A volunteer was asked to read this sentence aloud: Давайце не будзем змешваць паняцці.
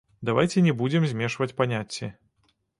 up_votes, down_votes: 1, 2